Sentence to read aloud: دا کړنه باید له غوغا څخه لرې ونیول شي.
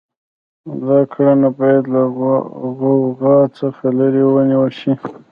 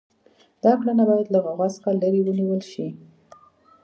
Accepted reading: second